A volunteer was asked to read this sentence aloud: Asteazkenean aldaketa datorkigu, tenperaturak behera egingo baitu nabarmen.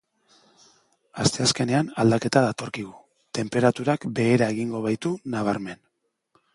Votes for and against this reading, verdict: 4, 0, accepted